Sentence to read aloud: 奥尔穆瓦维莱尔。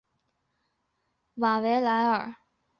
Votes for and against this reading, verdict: 1, 2, rejected